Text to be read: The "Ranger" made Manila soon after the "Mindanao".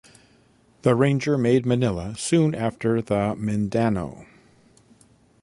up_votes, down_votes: 1, 2